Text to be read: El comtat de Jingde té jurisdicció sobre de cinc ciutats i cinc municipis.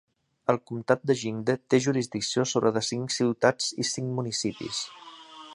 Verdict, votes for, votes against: accepted, 2, 0